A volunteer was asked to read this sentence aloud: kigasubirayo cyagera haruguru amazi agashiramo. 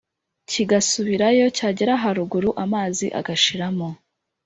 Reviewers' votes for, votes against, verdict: 2, 0, accepted